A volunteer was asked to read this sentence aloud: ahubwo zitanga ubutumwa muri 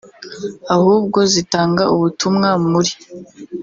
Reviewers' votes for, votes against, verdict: 1, 2, rejected